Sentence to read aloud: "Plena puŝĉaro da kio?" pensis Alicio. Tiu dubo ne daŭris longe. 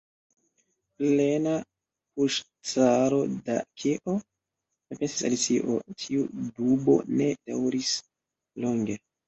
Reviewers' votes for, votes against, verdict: 0, 2, rejected